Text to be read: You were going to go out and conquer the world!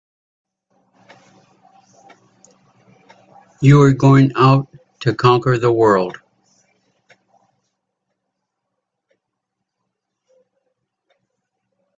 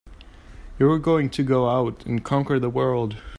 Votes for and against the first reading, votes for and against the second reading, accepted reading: 1, 2, 3, 0, second